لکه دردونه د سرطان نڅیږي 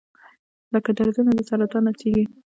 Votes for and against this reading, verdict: 1, 2, rejected